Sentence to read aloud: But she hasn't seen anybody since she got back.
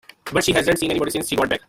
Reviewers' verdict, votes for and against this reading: rejected, 0, 2